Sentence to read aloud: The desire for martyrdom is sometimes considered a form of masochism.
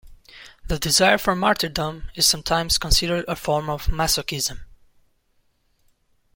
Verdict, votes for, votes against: rejected, 1, 2